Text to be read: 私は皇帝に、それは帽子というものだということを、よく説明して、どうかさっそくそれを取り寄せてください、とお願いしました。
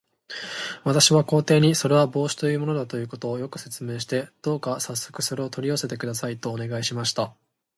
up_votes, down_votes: 2, 0